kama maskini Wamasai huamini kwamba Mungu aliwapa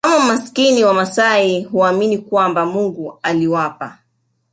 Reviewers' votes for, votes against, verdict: 2, 1, accepted